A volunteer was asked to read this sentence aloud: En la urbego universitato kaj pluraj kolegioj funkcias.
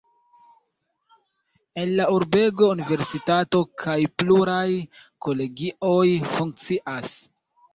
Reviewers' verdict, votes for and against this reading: rejected, 1, 2